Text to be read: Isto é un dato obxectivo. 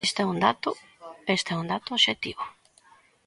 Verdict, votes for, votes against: rejected, 0, 2